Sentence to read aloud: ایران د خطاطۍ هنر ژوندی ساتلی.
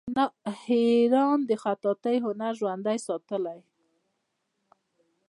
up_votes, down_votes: 0, 2